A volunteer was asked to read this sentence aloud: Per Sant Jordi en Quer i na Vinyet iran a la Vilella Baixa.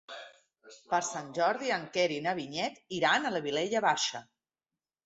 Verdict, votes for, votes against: accepted, 3, 0